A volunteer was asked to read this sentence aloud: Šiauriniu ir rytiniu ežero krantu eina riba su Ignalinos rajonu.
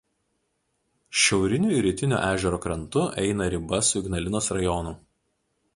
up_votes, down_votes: 0, 2